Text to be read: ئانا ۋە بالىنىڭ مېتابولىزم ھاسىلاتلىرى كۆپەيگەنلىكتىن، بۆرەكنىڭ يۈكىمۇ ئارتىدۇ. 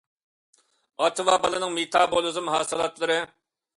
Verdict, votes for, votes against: rejected, 0, 2